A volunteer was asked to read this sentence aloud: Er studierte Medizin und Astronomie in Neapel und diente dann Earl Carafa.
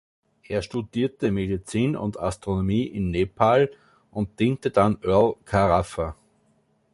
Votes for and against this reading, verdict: 0, 2, rejected